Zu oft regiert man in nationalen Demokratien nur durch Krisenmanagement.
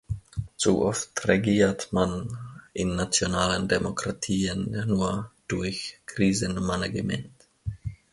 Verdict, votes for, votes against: rejected, 0, 2